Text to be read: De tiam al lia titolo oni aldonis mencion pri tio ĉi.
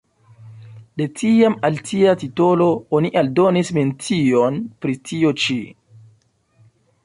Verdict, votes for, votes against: rejected, 1, 2